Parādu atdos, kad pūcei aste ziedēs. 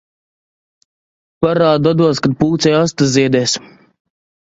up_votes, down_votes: 2, 0